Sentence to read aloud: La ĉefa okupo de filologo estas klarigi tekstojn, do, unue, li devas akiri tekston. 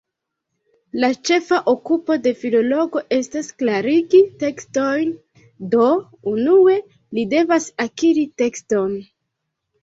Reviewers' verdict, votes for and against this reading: rejected, 1, 2